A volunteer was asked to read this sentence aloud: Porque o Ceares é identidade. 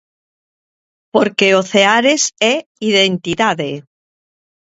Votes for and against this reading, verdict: 2, 0, accepted